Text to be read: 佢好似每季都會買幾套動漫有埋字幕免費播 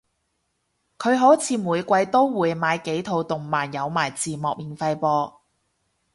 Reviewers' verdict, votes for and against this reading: rejected, 0, 2